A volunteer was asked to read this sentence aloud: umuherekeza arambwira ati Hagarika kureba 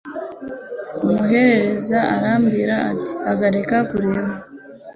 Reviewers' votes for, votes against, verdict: 2, 0, accepted